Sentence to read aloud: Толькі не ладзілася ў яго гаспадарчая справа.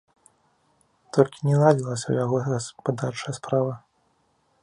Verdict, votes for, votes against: rejected, 0, 2